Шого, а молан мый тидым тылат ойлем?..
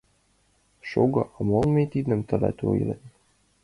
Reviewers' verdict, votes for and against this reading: accepted, 2, 0